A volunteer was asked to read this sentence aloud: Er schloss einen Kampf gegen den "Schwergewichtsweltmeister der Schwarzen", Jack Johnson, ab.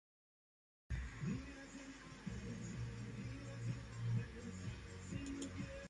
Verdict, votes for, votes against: rejected, 0, 2